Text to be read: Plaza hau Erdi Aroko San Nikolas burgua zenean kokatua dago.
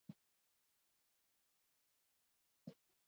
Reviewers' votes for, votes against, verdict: 0, 4, rejected